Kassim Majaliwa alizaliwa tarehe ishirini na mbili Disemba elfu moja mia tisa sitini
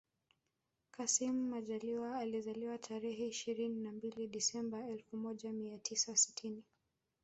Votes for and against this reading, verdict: 0, 2, rejected